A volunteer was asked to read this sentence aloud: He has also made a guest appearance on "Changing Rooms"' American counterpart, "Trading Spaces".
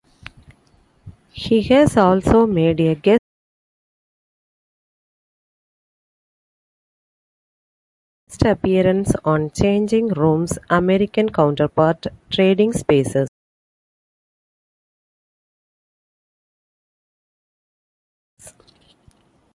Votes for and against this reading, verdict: 0, 2, rejected